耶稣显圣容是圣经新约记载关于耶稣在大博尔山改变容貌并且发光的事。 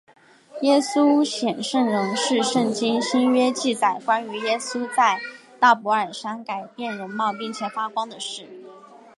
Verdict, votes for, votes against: accepted, 6, 0